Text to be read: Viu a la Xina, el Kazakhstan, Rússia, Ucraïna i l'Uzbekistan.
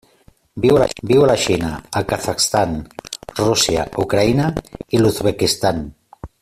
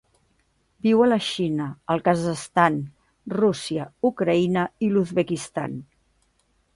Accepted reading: second